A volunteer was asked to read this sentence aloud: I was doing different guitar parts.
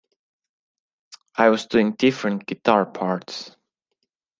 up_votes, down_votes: 2, 0